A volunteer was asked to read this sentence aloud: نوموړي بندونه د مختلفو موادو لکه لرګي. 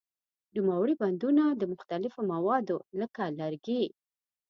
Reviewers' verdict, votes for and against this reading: accepted, 2, 0